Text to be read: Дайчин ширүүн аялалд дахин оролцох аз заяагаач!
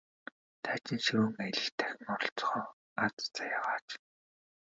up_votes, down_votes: 0, 2